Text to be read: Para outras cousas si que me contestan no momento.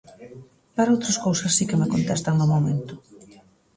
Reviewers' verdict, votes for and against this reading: accepted, 2, 0